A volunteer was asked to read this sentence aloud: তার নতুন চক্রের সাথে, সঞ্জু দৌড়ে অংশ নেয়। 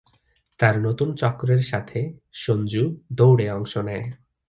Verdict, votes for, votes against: accepted, 3, 0